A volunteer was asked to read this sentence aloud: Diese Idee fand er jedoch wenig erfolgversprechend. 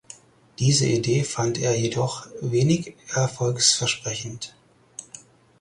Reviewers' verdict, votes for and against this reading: rejected, 2, 4